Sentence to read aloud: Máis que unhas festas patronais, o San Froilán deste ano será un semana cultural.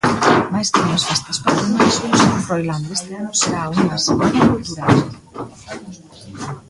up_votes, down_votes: 0, 2